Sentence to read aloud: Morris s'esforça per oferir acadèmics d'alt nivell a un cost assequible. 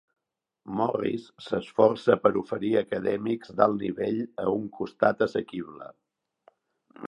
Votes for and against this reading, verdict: 0, 3, rejected